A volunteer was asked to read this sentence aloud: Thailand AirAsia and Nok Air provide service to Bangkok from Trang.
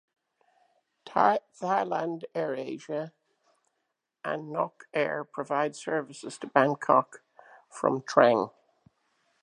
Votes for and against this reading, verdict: 1, 2, rejected